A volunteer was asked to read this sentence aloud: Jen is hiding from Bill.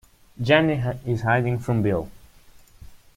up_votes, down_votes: 2, 1